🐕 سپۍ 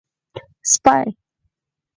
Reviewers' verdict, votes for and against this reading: rejected, 2, 4